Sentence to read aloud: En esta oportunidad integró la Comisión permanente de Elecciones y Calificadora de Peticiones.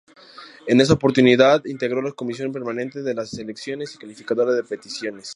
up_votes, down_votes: 2, 2